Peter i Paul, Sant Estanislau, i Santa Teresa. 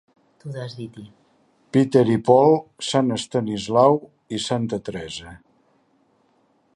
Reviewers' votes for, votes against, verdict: 1, 2, rejected